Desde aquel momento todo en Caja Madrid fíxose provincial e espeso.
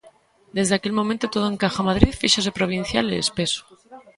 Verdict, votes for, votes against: rejected, 0, 2